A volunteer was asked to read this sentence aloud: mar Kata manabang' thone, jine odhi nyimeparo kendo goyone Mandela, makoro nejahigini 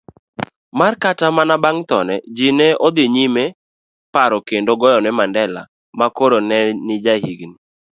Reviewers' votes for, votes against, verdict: 1, 2, rejected